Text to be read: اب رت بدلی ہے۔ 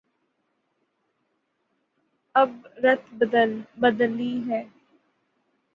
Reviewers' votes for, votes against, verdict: 0, 6, rejected